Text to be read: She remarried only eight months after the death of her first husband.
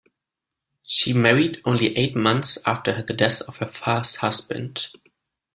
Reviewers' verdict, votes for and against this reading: rejected, 1, 2